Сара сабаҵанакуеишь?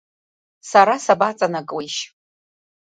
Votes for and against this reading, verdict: 2, 0, accepted